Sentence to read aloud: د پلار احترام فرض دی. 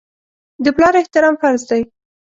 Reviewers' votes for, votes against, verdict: 2, 0, accepted